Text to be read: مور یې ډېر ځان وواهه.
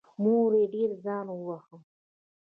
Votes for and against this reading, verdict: 2, 1, accepted